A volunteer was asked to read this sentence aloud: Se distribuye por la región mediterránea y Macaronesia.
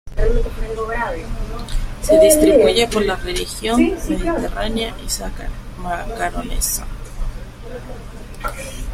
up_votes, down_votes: 0, 2